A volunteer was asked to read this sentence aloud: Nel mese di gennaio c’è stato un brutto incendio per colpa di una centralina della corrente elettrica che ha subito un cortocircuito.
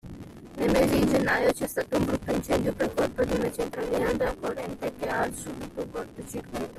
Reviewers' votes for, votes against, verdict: 0, 2, rejected